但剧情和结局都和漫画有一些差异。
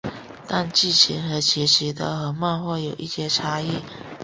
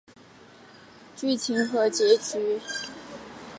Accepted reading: first